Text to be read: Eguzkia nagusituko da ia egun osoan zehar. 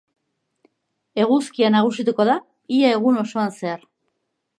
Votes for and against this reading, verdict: 5, 1, accepted